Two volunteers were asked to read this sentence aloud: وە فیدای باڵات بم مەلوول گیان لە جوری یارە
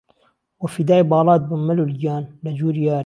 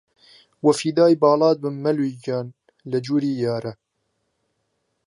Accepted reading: second